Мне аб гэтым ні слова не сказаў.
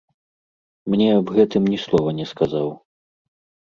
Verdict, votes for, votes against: accepted, 2, 0